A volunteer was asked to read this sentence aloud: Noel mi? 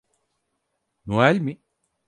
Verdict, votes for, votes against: accepted, 4, 0